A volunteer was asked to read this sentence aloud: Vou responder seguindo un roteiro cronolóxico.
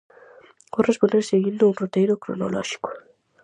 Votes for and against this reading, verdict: 4, 0, accepted